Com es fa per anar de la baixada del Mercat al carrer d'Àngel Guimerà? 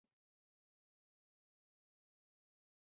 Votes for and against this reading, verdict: 0, 2, rejected